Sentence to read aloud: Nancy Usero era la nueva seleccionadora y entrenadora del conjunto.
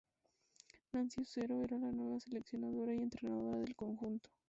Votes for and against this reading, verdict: 2, 2, rejected